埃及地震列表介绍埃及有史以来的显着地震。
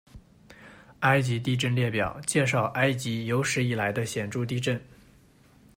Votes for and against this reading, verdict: 1, 2, rejected